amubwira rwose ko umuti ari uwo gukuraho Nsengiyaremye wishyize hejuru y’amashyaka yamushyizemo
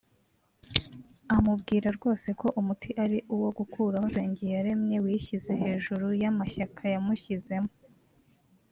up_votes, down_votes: 3, 0